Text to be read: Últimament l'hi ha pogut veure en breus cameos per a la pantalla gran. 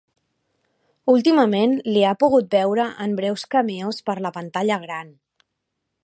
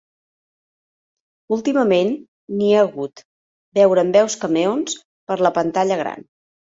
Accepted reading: first